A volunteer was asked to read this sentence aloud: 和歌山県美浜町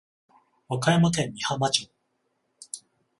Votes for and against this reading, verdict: 14, 0, accepted